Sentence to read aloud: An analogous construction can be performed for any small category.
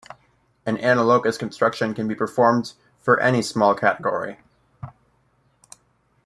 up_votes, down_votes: 0, 2